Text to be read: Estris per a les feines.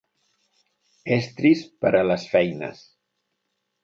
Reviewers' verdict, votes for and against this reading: accepted, 2, 0